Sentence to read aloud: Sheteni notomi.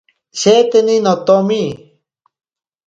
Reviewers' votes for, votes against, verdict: 2, 0, accepted